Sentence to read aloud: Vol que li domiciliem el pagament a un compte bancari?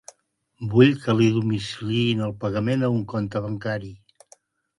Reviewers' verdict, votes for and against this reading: rejected, 0, 2